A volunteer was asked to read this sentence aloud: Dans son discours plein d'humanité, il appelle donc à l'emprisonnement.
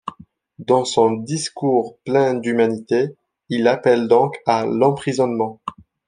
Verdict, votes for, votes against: accepted, 2, 0